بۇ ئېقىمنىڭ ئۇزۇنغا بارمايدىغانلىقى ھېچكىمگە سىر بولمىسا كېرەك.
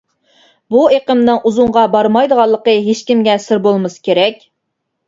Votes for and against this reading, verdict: 2, 0, accepted